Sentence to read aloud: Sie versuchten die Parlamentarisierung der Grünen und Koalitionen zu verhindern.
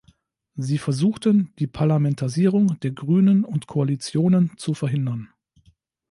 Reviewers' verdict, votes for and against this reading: rejected, 1, 2